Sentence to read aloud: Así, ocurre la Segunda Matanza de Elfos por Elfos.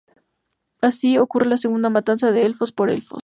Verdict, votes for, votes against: rejected, 0, 2